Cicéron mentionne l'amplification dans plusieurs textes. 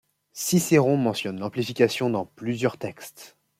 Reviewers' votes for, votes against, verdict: 2, 0, accepted